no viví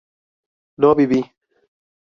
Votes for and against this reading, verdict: 4, 2, accepted